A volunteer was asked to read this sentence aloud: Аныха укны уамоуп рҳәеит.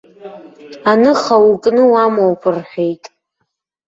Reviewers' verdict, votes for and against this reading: rejected, 0, 2